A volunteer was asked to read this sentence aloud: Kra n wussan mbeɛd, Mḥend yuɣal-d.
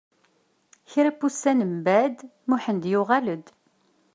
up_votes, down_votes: 1, 2